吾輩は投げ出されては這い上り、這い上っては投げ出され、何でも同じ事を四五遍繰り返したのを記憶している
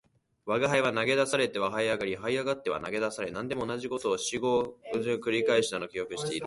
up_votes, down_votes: 22, 15